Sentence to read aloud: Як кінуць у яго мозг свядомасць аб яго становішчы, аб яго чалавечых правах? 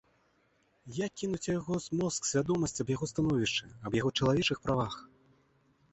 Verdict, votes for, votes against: rejected, 1, 2